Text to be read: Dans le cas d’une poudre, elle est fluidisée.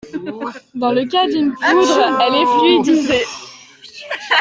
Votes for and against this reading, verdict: 2, 1, accepted